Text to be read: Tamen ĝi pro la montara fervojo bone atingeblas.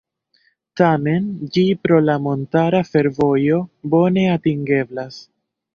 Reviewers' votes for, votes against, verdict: 2, 0, accepted